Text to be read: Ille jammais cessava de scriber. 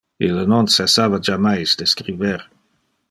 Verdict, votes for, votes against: rejected, 0, 2